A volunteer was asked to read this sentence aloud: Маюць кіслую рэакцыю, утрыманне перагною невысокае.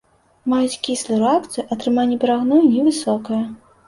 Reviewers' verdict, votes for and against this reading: rejected, 0, 2